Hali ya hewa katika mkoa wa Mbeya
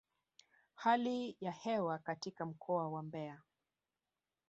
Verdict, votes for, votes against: rejected, 0, 2